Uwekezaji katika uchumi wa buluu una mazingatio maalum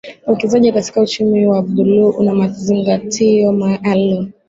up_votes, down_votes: 2, 0